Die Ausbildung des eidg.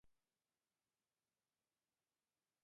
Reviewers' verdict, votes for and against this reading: rejected, 0, 2